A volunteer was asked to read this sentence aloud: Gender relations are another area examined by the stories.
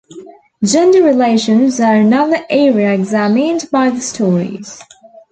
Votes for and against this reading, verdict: 4, 0, accepted